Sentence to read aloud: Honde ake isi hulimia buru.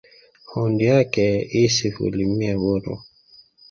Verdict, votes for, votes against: accepted, 3, 0